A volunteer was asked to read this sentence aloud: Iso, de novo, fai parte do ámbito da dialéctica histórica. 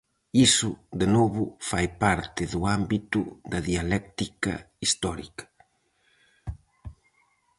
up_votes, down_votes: 4, 0